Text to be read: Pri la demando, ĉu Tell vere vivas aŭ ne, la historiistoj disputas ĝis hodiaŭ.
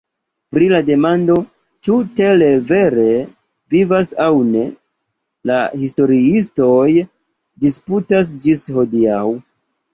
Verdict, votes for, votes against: rejected, 1, 2